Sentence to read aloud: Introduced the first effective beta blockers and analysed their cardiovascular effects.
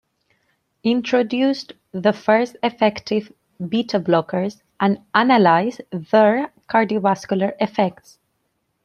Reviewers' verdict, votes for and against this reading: accepted, 2, 0